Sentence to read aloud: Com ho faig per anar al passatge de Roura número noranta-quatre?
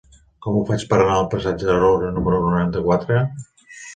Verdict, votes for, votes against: accepted, 2, 0